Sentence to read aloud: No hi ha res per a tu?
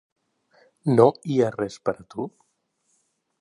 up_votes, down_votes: 0, 2